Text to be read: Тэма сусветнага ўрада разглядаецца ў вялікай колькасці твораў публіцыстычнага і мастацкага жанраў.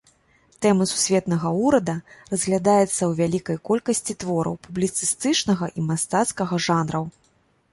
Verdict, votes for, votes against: rejected, 0, 2